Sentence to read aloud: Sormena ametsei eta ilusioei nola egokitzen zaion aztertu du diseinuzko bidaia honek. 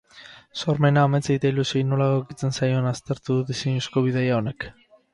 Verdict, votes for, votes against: rejected, 0, 4